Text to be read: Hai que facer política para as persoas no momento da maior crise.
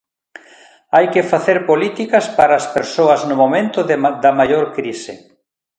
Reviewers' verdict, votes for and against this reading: rejected, 1, 2